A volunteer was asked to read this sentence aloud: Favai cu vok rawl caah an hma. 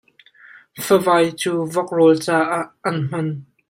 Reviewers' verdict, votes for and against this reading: rejected, 0, 2